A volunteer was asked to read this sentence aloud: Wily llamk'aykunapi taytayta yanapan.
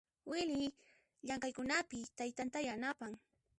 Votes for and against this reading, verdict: 1, 2, rejected